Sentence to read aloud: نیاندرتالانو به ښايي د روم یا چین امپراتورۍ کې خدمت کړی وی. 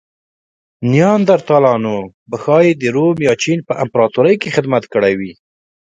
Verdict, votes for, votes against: accepted, 2, 1